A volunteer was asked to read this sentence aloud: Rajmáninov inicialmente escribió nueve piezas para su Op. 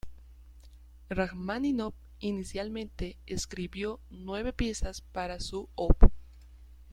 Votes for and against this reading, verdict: 2, 1, accepted